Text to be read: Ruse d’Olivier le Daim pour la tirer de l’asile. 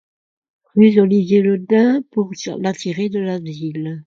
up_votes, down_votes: 1, 2